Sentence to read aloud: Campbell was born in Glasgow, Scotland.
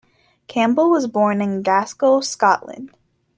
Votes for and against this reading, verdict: 1, 2, rejected